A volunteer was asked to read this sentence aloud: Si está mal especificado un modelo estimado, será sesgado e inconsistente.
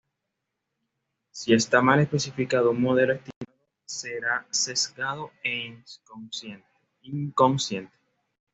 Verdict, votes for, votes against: rejected, 1, 2